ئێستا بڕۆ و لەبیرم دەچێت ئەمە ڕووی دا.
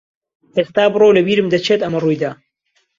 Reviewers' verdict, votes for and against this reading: accepted, 2, 0